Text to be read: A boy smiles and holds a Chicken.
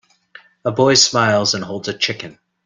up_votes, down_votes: 3, 0